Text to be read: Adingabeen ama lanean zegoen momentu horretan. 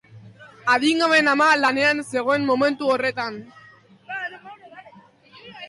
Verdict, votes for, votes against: accepted, 5, 0